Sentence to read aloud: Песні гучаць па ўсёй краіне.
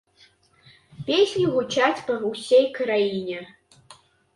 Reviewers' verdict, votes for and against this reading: rejected, 0, 2